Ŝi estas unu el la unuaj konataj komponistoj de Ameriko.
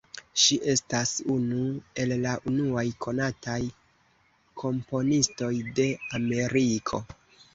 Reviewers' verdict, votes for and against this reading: rejected, 1, 2